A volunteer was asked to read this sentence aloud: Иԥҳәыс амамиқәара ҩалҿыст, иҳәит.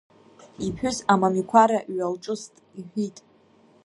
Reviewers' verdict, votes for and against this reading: rejected, 1, 2